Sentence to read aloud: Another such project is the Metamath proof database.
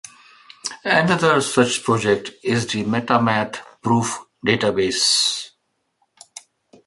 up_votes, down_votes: 2, 1